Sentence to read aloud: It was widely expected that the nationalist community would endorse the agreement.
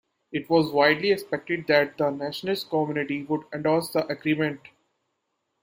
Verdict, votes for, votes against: accepted, 2, 0